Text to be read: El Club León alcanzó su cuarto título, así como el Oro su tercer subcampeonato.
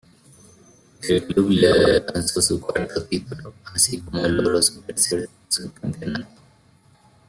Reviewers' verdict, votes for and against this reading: rejected, 0, 2